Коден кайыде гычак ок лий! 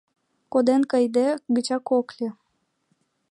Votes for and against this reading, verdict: 2, 0, accepted